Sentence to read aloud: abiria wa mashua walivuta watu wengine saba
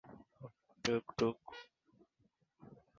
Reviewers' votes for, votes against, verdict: 0, 2, rejected